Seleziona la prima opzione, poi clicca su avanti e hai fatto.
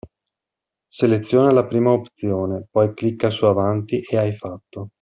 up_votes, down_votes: 2, 0